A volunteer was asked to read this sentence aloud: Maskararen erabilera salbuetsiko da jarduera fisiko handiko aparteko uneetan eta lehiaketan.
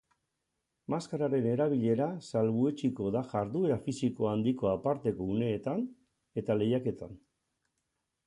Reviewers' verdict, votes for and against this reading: accepted, 6, 2